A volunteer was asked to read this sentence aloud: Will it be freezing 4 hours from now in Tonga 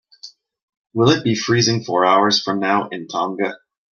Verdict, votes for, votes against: rejected, 0, 2